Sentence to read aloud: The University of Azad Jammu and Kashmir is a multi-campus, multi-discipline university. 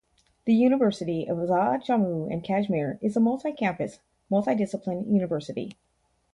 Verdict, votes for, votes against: accepted, 4, 0